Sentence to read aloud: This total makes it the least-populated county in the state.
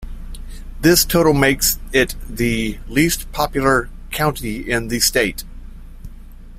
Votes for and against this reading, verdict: 1, 2, rejected